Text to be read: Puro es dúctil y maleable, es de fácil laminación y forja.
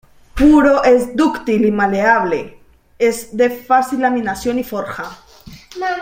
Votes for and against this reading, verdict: 2, 0, accepted